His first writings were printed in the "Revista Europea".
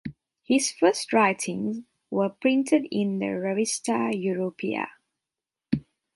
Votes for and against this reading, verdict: 2, 0, accepted